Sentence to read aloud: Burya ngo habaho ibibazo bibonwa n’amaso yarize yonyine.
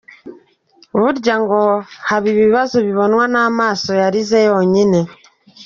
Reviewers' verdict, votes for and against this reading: rejected, 0, 2